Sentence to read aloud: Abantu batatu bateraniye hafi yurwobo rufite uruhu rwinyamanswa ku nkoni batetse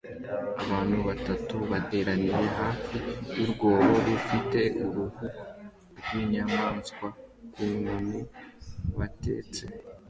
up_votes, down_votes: 2, 1